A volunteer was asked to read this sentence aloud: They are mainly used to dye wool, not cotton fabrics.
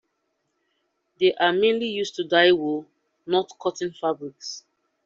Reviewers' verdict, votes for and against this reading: accepted, 2, 1